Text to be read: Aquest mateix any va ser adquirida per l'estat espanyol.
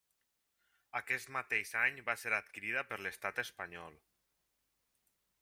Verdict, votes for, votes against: accepted, 3, 1